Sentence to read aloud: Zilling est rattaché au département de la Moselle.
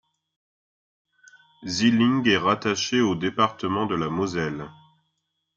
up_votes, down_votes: 2, 1